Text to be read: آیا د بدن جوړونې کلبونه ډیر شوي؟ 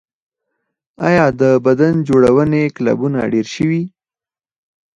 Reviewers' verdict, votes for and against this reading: accepted, 4, 2